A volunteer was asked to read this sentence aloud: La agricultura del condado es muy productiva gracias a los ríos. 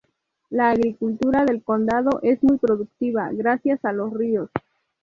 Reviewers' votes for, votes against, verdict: 6, 0, accepted